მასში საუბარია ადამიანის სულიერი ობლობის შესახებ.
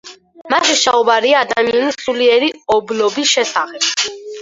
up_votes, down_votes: 2, 4